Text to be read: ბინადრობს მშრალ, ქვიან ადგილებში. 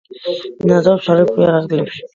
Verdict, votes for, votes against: rejected, 1, 2